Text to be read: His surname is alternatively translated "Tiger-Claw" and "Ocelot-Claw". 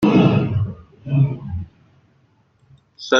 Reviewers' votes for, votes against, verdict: 0, 2, rejected